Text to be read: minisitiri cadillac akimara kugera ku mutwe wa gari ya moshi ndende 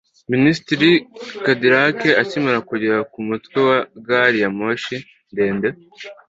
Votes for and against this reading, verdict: 2, 0, accepted